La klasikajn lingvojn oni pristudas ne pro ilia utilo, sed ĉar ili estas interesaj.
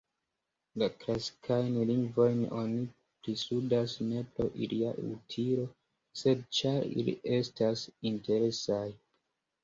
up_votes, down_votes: 2, 0